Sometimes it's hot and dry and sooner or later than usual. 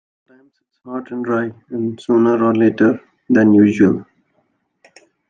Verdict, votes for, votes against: rejected, 0, 2